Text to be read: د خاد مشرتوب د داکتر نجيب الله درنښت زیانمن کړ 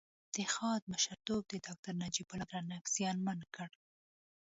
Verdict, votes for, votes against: rejected, 1, 2